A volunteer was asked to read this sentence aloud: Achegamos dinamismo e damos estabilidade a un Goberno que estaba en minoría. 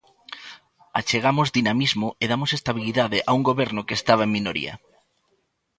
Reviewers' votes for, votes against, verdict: 0, 2, rejected